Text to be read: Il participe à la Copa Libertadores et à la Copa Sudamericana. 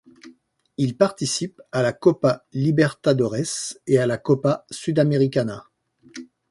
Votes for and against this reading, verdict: 2, 0, accepted